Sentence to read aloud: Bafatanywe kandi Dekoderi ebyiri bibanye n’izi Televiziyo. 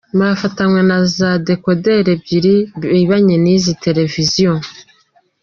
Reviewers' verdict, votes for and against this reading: rejected, 0, 2